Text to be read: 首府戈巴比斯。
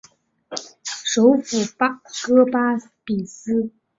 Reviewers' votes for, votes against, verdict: 0, 2, rejected